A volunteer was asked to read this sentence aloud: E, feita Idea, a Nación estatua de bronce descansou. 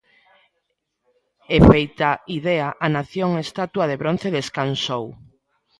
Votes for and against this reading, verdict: 2, 0, accepted